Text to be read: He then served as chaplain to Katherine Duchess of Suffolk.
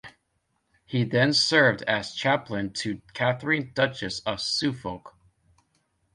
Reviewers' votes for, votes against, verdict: 0, 2, rejected